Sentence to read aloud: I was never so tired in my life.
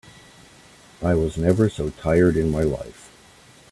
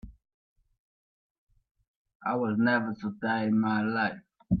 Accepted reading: first